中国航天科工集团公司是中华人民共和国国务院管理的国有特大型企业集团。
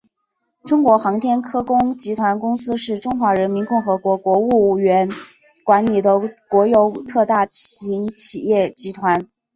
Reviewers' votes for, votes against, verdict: 3, 1, accepted